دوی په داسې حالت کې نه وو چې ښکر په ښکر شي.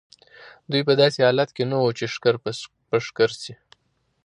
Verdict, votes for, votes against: accepted, 2, 0